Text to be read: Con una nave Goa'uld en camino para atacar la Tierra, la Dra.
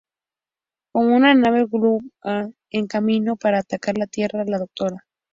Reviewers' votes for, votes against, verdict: 2, 0, accepted